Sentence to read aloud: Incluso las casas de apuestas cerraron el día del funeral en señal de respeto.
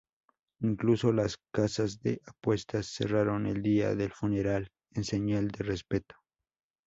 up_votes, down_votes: 2, 2